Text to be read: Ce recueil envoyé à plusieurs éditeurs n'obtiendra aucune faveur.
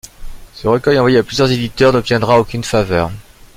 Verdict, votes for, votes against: rejected, 1, 2